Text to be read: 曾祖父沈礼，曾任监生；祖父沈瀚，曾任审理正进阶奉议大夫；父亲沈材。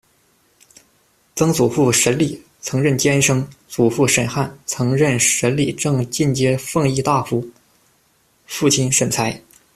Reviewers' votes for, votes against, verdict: 2, 0, accepted